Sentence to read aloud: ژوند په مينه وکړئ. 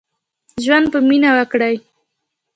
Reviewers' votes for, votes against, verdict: 2, 0, accepted